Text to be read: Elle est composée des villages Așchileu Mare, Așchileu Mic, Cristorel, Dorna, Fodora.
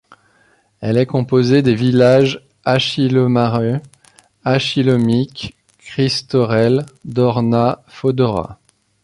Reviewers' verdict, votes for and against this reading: accepted, 2, 1